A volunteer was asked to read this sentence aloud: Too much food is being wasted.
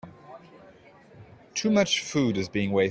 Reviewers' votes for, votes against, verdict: 0, 2, rejected